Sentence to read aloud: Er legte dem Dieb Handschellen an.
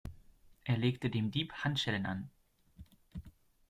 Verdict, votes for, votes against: accepted, 2, 0